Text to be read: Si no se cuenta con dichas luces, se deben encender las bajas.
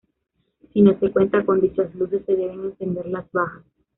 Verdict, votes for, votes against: rejected, 1, 2